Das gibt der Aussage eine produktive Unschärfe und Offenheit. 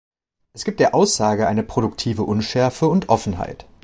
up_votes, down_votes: 1, 2